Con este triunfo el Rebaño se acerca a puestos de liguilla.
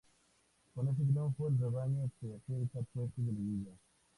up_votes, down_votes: 2, 0